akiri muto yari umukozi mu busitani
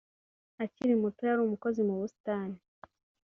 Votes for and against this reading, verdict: 2, 0, accepted